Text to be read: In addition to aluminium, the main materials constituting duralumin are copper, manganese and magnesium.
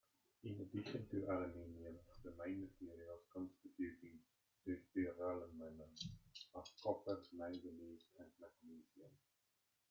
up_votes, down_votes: 0, 2